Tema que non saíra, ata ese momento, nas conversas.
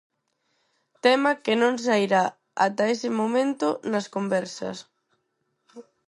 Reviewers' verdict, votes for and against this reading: rejected, 2, 4